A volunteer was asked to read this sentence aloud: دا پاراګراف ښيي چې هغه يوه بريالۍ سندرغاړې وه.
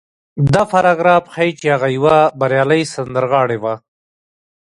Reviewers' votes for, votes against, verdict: 0, 2, rejected